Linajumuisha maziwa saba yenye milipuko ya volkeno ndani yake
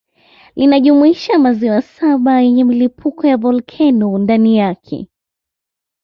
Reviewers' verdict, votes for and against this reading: accepted, 2, 0